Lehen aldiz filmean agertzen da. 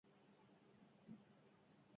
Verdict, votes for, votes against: rejected, 0, 6